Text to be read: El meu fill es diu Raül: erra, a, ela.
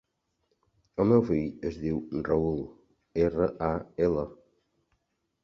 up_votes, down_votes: 1, 2